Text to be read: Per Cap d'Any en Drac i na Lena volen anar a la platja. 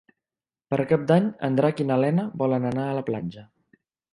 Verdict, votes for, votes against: accepted, 2, 0